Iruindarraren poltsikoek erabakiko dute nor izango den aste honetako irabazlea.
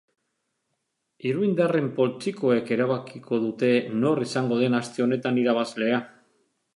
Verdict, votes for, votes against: rejected, 1, 2